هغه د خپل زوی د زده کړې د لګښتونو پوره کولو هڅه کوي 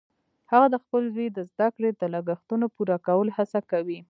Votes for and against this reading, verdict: 1, 2, rejected